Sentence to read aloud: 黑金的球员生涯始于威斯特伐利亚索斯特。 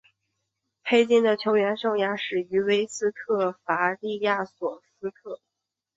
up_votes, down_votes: 4, 1